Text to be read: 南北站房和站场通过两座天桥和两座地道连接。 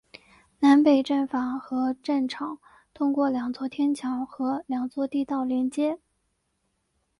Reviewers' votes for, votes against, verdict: 2, 0, accepted